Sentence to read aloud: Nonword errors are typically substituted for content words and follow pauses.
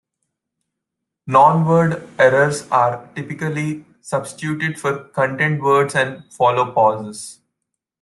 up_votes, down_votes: 2, 0